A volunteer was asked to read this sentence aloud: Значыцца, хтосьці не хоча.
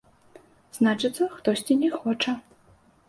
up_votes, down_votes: 2, 0